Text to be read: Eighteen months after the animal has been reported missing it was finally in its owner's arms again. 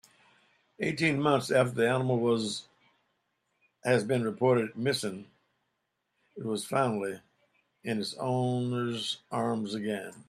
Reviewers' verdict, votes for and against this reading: rejected, 1, 2